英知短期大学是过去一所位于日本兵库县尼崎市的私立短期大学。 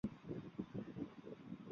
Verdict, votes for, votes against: rejected, 0, 4